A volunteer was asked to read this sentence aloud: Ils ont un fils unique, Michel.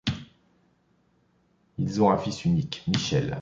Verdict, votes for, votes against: accepted, 2, 0